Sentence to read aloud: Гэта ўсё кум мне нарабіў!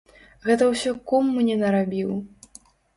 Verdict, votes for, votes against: accepted, 2, 0